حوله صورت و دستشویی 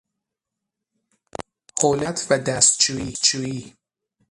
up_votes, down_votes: 0, 6